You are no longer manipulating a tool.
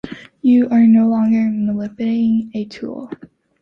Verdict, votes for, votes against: rejected, 0, 2